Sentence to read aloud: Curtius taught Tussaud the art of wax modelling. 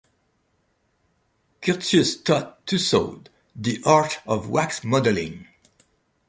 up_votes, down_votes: 2, 1